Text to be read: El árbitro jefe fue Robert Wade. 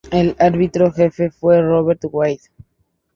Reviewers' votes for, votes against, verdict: 0, 2, rejected